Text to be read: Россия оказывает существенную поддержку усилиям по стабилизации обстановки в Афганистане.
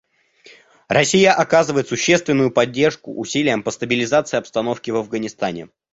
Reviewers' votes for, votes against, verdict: 2, 0, accepted